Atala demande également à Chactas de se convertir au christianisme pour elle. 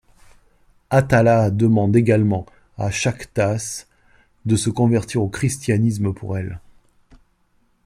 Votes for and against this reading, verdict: 2, 0, accepted